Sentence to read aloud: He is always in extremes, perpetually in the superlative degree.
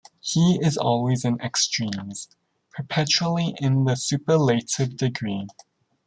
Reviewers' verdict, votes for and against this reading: rejected, 1, 2